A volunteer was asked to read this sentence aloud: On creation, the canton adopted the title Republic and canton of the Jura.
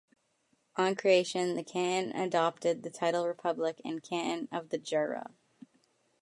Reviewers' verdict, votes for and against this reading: rejected, 1, 2